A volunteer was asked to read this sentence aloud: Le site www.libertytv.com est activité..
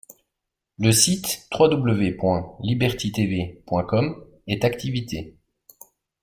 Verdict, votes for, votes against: accepted, 2, 0